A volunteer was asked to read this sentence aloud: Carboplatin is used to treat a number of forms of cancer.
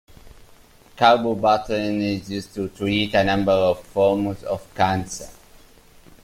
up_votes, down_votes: 1, 2